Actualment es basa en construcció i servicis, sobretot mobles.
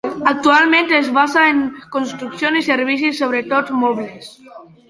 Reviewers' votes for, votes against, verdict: 2, 1, accepted